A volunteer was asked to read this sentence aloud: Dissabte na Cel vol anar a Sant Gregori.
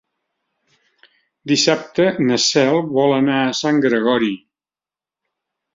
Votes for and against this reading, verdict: 5, 0, accepted